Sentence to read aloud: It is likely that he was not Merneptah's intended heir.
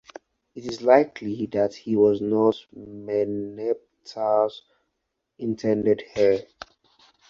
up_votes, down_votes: 4, 0